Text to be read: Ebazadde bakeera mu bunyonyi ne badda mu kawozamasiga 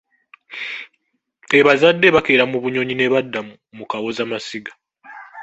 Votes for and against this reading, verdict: 0, 2, rejected